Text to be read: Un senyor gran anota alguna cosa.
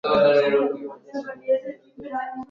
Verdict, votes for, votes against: rejected, 0, 2